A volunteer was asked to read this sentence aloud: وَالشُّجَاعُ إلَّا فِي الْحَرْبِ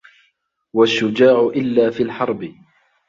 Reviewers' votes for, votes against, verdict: 2, 1, accepted